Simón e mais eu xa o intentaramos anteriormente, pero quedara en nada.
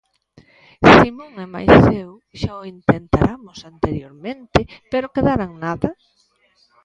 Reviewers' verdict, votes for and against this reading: accepted, 2, 0